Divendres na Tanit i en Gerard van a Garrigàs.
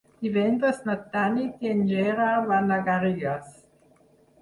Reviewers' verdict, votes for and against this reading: rejected, 2, 4